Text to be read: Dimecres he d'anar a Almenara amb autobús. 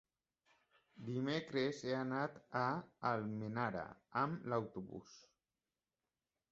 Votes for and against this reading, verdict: 0, 2, rejected